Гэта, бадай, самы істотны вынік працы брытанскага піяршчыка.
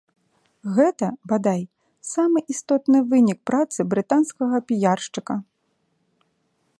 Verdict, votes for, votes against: rejected, 1, 2